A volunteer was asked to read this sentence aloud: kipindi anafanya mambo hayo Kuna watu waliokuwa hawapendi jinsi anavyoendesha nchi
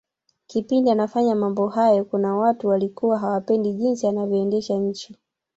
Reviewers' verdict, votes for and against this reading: rejected, 1, 2